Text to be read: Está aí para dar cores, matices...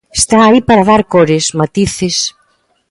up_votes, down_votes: 2, 0